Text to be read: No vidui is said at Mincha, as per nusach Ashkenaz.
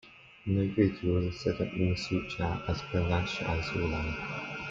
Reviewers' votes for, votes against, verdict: 0, 2, rejected